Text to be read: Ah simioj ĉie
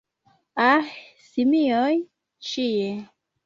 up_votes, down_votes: 2, 0